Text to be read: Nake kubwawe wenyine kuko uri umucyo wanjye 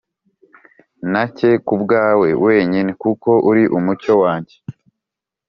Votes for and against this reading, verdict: 2, 0, accepted